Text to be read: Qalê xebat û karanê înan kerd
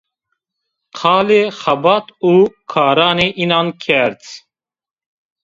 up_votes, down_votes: 1, 2